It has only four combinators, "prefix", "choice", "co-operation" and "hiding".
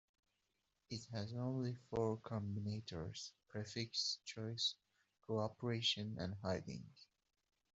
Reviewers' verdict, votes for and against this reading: accepted, 2, 1